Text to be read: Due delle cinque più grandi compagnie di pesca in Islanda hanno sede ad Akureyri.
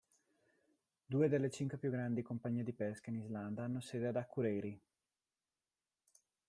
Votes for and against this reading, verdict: 2, 0, accepted